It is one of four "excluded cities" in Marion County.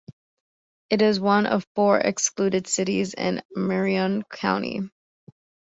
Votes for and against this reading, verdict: 2, 0, accepted